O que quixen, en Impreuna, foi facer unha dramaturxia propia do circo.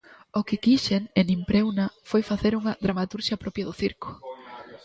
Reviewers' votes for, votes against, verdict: 1, 2, rejected